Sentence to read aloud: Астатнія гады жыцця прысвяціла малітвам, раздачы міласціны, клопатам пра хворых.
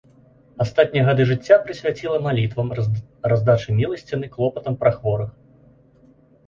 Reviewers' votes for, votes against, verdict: 0, 2, rejected